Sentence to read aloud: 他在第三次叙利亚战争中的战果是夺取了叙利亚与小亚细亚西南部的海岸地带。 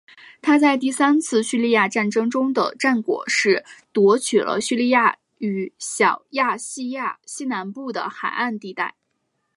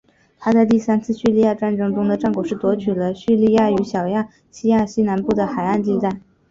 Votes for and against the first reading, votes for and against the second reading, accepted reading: 1, 2, 2, 0, second